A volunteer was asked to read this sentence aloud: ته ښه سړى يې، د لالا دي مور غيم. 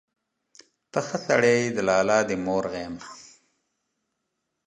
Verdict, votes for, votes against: rejected, 0, 2